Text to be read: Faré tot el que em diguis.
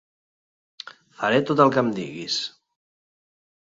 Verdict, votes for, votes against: accepted, 3, 1